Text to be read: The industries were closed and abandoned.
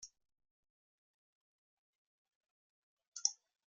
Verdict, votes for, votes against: rejected, 0, 2